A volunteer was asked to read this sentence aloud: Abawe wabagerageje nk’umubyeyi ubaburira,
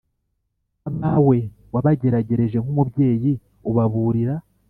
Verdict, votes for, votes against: accepted, 3, 0